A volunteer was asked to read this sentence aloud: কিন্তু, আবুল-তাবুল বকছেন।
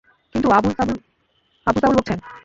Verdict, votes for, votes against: rejected, 0, 2